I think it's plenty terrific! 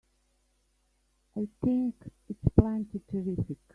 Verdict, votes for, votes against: rejected, 1, 3